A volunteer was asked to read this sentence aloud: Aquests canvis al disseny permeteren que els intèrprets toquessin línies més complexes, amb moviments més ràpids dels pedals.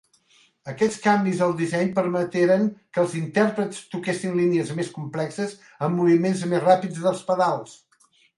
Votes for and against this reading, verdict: 2, 0, accepted